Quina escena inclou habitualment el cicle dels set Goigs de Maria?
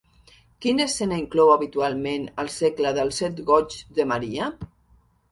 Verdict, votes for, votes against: rejected, 0, 2